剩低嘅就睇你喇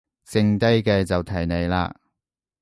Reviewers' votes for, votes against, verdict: 2, 0, accepted